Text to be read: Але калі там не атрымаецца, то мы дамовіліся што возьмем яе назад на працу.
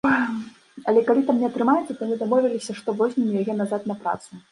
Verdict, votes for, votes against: rejected, 1, 2